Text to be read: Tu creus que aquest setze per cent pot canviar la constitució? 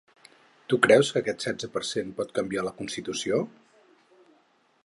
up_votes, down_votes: 6, 0